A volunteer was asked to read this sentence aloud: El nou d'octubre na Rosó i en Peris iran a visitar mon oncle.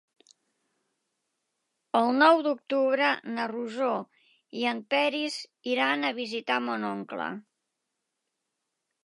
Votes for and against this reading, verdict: 2, 0, accepted